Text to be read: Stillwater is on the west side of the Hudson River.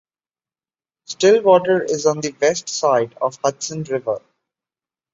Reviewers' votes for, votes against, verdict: 2, 1, accepted